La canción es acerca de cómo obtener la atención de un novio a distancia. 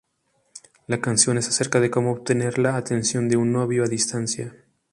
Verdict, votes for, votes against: accepted, 4, 0